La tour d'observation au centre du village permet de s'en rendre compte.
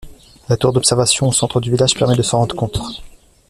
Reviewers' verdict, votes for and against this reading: rejected, 0, 2